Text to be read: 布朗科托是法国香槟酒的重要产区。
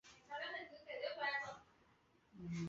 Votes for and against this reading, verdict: 1, 2, rejected